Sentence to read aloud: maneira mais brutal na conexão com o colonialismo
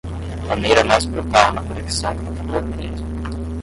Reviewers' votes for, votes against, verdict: 0, 5, rejected